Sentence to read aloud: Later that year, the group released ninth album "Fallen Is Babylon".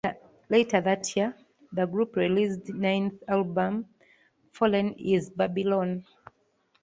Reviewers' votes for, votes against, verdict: 2, 1, accepted